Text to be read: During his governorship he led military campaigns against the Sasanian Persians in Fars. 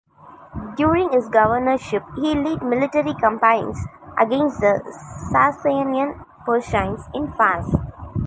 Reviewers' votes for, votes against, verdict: 0, 2, rejected